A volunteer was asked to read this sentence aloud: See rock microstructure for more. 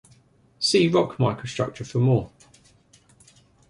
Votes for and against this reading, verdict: 1, 2, rejected